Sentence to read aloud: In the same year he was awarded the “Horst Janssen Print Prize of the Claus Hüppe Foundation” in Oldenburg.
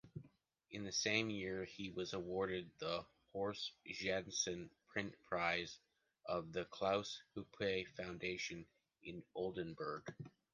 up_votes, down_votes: 1, 2